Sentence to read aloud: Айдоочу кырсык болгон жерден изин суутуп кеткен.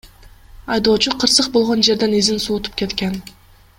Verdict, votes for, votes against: accepted, 2, 0